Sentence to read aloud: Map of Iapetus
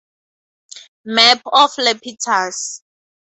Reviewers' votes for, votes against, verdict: 2, 0, accepted